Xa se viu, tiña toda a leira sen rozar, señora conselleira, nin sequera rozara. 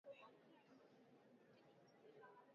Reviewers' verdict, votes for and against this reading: rejected, 0, 2